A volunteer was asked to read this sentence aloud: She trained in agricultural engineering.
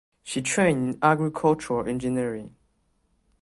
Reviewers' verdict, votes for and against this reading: rejected, 1, 2